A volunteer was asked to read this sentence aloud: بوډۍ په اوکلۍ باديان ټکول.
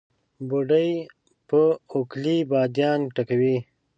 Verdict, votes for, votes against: rejected, 1, 2